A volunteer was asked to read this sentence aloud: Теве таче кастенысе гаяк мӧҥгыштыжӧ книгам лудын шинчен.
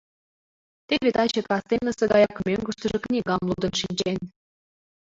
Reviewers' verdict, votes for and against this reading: rejected, 1, 2